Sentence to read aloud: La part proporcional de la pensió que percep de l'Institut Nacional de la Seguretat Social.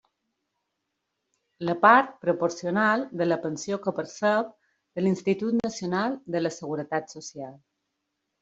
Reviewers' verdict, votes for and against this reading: rejected, 1, 2